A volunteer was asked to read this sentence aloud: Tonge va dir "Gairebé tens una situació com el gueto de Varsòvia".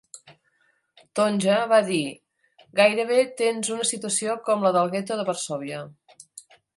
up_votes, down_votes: 0, 2